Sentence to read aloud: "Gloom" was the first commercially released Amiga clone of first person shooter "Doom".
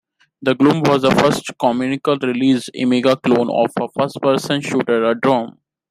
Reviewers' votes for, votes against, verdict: 0, 2, rejected